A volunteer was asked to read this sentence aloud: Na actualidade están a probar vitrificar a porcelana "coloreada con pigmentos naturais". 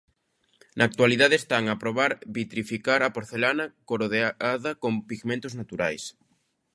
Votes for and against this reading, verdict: 0, 2, rejected